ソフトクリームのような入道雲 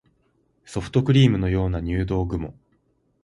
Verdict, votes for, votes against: rejected, 0, 2